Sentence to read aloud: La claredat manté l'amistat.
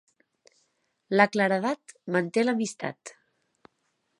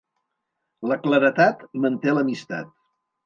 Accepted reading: first